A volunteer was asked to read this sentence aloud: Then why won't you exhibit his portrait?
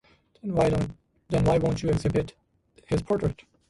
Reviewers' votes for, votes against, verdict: 1, 2, rejected